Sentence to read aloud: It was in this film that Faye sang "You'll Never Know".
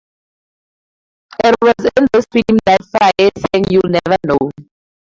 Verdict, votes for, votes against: rejected, 2, 2